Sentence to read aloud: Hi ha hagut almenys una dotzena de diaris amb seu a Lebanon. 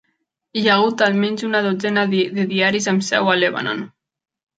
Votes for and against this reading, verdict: 1, 2, rejected